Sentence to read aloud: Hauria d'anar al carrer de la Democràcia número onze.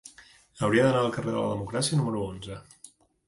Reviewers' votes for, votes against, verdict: 3, 0, accepted